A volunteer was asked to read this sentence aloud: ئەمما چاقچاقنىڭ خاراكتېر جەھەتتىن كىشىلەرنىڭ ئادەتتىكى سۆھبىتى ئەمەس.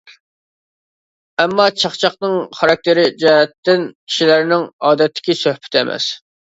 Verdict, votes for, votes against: rejected, 1, 2